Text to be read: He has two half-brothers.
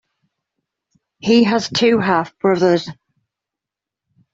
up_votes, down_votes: 2, 0